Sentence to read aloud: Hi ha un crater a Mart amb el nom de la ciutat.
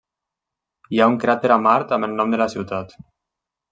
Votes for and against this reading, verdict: 3, 0, accepted